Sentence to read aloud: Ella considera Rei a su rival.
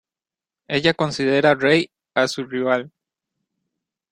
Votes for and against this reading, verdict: 2, 0, accepted